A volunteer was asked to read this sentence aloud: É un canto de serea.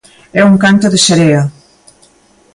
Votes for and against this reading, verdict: 2, 0, accepted